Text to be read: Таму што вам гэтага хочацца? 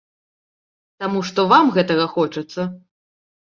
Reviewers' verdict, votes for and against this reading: accepted, 2, 0